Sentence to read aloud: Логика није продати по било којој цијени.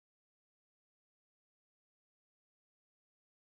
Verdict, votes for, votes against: rejected, 0, 2